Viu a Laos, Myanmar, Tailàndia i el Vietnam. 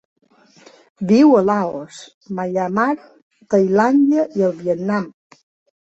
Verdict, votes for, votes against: rejected, 1, 2